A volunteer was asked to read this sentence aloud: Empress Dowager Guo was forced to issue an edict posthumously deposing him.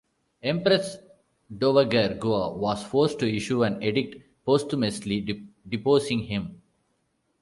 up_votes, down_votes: 0, 3